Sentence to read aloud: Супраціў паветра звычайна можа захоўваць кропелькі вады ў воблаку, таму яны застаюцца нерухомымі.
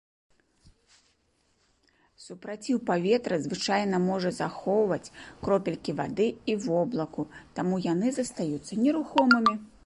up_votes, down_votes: 0, 2